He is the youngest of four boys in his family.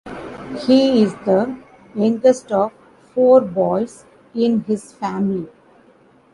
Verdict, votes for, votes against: rejected, 0, 2